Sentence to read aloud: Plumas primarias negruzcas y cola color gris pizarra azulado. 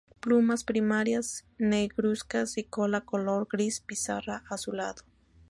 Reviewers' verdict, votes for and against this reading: accepted, 2, 0